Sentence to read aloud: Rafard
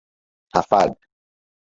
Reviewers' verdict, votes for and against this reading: rejected, 0, 4